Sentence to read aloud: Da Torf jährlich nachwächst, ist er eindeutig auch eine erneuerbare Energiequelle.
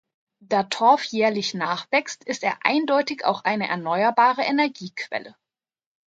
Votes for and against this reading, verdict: 2, 0, accepted